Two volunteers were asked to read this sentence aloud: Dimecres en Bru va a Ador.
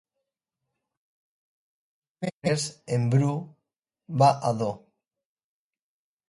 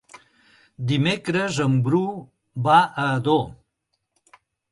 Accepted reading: second